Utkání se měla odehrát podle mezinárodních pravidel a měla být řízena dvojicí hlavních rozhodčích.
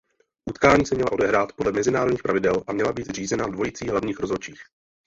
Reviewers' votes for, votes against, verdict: 0, 2, rejected